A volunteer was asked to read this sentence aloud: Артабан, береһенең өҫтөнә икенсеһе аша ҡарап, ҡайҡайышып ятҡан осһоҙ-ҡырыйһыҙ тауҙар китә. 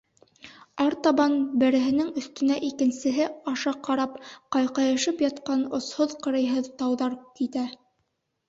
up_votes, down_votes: 2, 0